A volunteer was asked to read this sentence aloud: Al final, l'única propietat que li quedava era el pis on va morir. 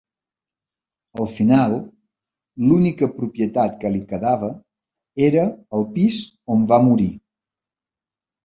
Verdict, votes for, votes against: rejected, 1, 2